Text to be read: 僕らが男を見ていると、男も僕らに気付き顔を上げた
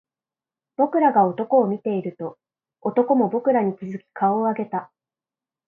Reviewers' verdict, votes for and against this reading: accepted, 2, 0